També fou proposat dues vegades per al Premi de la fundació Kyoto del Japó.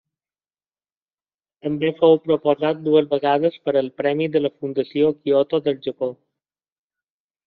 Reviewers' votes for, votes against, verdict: 2, 0, accepted